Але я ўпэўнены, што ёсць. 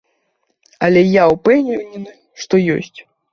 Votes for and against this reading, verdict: 0, 2, rejected